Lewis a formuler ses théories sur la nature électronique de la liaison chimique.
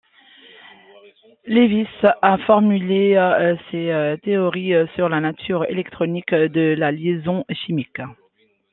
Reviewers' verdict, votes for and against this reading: accepted, 2, 1